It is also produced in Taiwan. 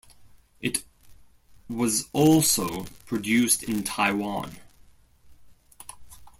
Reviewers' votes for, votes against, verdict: 0, 2, rejected